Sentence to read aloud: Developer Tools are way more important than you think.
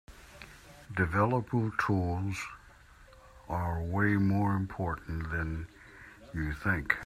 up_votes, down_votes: 2, 0